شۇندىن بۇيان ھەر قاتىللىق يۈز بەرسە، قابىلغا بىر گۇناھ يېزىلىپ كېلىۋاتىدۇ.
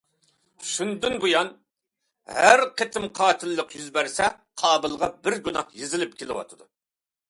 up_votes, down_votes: 0, 2